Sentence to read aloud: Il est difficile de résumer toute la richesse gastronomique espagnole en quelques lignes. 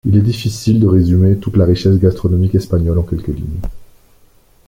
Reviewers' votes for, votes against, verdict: 1, 2, rejected